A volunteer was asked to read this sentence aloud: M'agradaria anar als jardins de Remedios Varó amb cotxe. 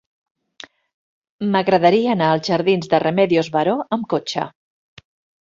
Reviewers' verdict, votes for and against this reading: accepted, 3, 0